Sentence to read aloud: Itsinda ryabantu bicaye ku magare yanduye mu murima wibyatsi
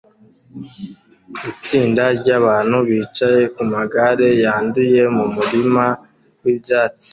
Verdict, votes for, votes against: accepted, 2, 0